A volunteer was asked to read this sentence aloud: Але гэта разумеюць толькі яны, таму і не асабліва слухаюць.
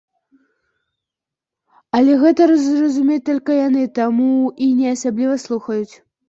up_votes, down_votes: 0, 2